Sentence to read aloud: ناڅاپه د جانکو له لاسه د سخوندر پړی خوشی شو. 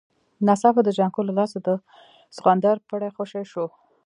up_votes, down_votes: 2, 0